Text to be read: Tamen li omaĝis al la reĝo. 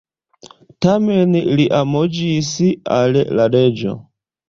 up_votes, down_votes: 2, 1